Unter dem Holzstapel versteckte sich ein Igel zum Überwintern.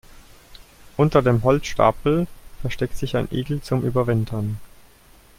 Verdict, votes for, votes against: rejected, 0, 2